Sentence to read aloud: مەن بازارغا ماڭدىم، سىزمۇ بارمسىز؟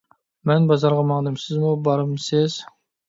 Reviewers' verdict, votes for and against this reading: accepted, 2, 0